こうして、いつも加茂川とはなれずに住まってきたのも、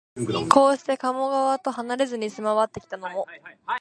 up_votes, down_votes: 2, 0